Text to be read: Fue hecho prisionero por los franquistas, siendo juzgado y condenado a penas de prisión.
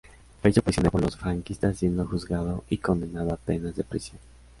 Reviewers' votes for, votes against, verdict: 0, 2, rejected